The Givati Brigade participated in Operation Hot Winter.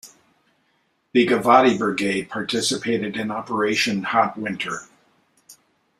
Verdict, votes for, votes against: accepted, 3, 0